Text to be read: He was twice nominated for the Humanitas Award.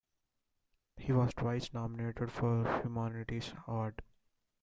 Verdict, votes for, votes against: rejected, 1, 2